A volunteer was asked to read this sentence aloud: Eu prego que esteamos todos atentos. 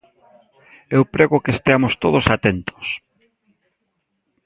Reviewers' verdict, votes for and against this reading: accepted, 2, 0